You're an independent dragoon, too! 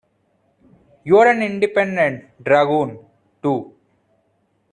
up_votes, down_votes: 2, 1